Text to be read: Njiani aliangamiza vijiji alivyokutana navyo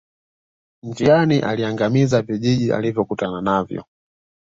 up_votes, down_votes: 2, 1